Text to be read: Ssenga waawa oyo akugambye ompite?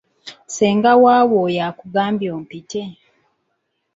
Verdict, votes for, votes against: rejected, 1, 2